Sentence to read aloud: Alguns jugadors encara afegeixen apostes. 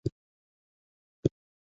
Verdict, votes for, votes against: rejected, 0, 2